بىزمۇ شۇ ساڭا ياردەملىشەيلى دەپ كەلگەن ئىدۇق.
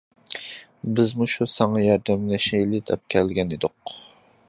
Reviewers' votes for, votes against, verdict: 2, 1, accepted